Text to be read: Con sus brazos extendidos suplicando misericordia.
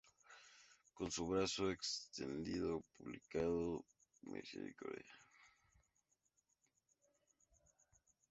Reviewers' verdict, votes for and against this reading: rejected, 0, 2